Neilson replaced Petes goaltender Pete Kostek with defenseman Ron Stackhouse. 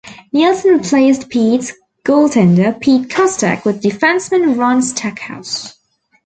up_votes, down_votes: 2, 1